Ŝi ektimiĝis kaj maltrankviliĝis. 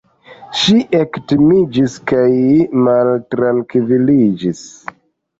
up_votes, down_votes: 2, 0